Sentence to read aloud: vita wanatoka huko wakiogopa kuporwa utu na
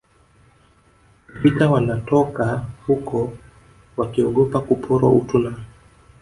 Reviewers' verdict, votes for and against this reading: rejected, 0, 2